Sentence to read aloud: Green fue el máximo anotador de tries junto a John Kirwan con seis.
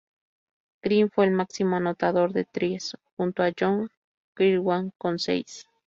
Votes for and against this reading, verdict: 2, 0, accepted